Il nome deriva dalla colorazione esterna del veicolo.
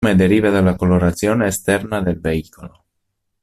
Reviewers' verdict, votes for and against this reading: rejected, 0, 2